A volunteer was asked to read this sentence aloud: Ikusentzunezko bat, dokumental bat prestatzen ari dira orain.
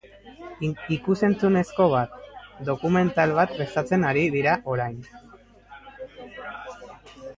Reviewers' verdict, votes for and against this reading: rejected, 0, 2